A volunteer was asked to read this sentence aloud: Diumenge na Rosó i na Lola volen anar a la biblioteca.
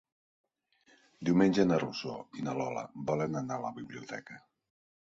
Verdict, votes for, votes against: accepted, 4, 0